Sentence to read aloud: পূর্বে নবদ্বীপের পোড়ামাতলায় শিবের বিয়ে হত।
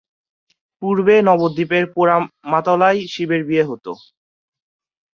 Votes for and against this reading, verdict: 4, 0, accepted